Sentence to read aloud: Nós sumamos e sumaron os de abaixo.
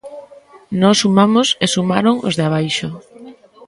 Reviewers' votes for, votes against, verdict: 1, 2, rejected